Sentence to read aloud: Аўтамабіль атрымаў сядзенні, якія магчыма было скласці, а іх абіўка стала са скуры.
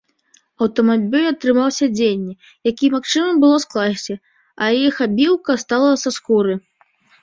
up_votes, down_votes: 2, 0